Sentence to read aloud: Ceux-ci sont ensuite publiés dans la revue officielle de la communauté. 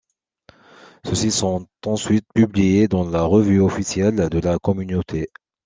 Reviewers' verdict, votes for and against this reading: accepted, 2, 0